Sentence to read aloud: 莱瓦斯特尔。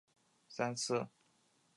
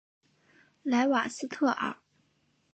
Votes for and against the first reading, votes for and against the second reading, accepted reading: 0, 2, 2, 0, second